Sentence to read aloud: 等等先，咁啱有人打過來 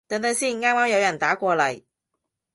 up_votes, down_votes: 0, 2